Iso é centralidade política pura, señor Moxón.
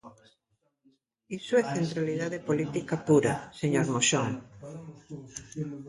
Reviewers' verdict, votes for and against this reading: rejected, 1, 2